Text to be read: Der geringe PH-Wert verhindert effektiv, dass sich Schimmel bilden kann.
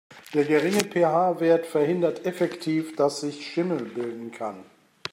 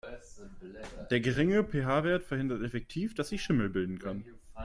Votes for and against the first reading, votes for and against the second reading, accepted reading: 2, 0, 1, 2, first